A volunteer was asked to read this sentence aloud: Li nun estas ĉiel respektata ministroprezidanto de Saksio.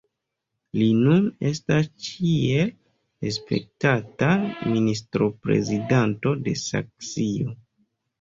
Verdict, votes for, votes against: rejected, 1, 2